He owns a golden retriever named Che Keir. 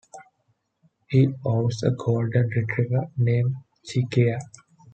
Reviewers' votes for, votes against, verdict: 2, 0, accepted